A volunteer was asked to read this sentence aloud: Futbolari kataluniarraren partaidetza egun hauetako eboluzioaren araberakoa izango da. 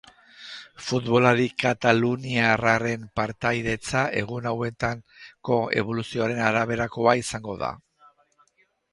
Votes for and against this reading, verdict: 0, 4, rejected